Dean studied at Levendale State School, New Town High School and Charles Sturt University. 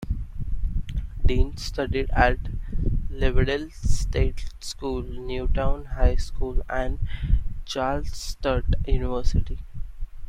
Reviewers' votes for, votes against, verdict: 0, 2, rejected